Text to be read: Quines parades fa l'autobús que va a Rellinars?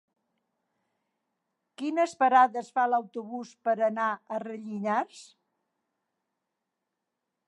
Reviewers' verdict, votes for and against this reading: rejected, 1, 2